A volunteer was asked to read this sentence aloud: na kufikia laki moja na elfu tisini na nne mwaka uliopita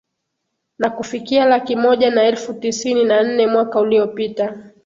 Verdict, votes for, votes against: rejected, 0, 2